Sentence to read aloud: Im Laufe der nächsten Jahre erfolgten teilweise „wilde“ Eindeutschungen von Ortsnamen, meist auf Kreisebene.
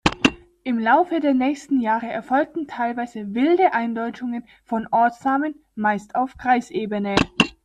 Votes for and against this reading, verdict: 2, 0, accepted